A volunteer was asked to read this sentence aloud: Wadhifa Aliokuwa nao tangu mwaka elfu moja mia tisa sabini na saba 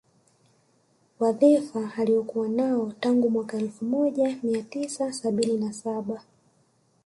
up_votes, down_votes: 2, 1